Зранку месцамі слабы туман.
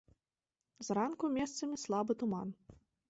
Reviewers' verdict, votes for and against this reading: accepted, 3, 0